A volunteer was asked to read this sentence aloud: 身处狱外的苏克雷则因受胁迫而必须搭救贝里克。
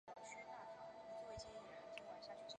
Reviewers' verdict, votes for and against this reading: rejected, 0, 2